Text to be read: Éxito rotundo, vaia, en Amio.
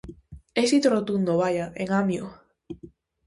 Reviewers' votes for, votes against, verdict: 2, 0, accepted